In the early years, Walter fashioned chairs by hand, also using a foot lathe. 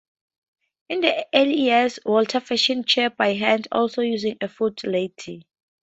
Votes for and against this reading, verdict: 0, 4, rejected